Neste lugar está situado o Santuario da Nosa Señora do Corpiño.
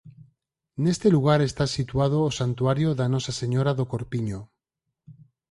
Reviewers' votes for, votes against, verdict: 4, 0, accepted